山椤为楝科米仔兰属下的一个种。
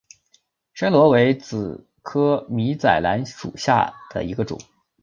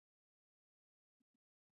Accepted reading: first